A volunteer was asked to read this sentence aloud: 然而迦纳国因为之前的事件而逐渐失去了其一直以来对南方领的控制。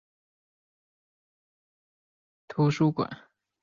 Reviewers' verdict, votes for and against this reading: rejected, 1, 3